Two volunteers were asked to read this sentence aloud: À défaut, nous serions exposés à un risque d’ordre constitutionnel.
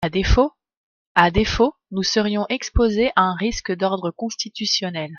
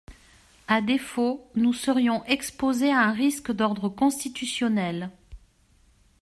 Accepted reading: second